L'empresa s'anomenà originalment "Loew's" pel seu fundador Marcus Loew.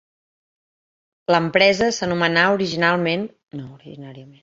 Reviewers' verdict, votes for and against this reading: rejected, 0, 3